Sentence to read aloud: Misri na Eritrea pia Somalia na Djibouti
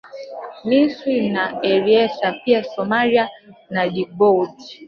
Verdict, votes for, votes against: rejected, 0, 2